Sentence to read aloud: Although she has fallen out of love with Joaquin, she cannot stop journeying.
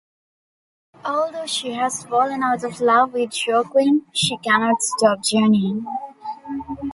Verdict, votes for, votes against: rejected, 1, 2